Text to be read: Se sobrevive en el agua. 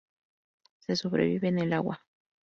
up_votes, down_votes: 2, 2